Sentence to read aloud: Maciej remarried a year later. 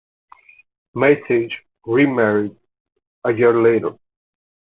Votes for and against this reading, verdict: 2, 1, accepted